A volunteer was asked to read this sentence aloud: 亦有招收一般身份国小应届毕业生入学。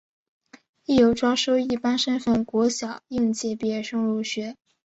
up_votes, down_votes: 2, 0